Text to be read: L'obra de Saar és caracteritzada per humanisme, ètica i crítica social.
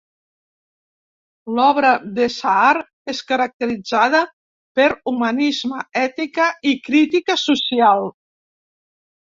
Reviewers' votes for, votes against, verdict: 2, 0, accepted